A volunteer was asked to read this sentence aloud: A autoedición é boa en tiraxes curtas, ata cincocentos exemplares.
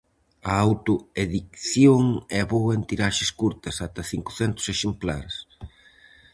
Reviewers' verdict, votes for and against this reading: rejected, 0, 4